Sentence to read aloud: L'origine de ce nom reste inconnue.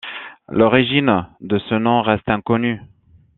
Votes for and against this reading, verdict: 2, 0, accepted